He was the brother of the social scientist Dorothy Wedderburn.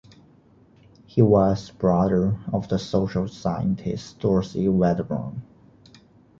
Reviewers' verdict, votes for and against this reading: rejected, 0, 2